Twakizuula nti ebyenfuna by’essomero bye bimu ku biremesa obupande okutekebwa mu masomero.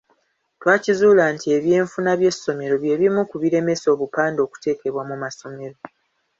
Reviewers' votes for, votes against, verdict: 2, 1, accepted